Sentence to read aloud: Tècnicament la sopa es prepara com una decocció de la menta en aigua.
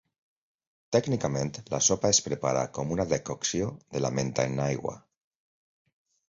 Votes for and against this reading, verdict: 2, 0, accepted